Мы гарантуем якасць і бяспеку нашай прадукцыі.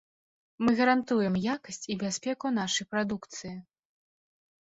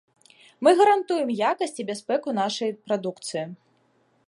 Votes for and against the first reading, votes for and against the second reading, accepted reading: 7, 0, 1, 2, first